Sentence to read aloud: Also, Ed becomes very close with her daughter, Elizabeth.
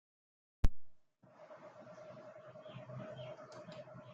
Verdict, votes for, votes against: rejected, 0, 2